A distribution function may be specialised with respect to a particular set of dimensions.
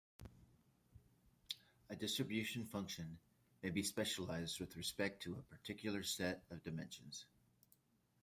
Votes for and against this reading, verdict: 0, 2, rejected